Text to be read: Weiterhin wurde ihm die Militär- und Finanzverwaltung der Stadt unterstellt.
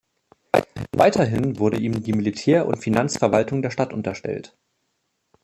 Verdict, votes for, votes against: rejected, 0, 2